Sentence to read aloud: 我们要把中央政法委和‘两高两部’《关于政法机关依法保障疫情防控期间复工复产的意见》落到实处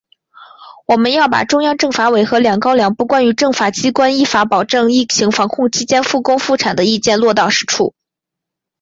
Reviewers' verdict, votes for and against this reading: accepted, 2, 0